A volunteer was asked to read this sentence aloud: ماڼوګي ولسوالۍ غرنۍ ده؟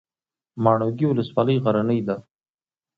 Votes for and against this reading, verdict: 2, 0, accepted